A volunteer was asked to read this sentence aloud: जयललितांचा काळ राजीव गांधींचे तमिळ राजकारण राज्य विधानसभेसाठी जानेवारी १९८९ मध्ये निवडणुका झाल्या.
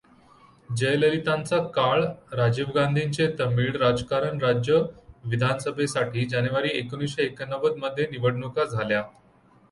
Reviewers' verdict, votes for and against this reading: rejected, 0, 2